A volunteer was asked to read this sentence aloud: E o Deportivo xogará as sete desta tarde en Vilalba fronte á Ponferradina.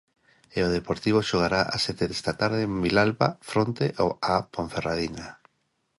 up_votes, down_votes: 0, 2